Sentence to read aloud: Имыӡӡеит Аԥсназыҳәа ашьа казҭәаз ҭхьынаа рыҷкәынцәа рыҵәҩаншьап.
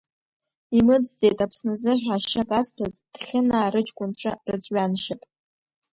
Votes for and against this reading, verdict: 2, 0, accepted